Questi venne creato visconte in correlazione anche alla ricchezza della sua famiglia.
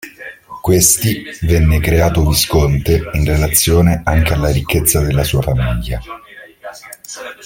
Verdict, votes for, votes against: rejected, 0, 2